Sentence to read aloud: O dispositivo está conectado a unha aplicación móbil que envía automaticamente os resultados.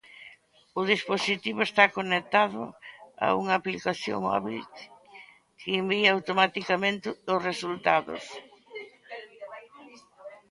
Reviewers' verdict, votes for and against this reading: rejected, 0, 2